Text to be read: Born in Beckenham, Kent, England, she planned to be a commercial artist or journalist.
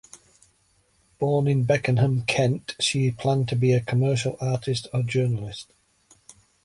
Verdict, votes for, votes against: rejected, 0, 2